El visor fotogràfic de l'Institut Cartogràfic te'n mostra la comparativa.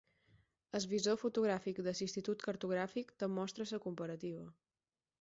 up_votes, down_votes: 0, 4